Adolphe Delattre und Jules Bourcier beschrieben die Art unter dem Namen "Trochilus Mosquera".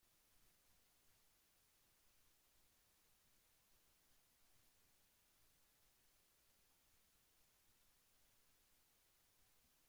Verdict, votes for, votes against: rejected, 0, 2